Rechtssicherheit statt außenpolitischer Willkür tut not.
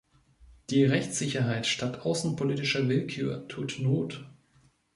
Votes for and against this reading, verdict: 0, 2, rejected